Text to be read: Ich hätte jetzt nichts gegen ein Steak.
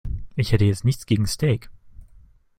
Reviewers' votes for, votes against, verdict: 0, 2, rejected